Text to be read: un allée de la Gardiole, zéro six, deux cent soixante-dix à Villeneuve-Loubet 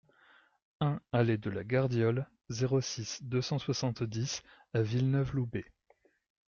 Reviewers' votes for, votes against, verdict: 2, 0, accepted